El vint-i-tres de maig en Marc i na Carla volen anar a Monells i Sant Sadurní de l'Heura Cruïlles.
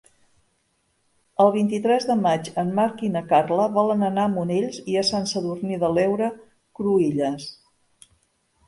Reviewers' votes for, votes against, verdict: 1, 2, rejected